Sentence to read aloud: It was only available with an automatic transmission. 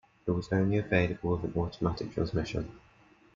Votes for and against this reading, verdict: 0, 2, rejected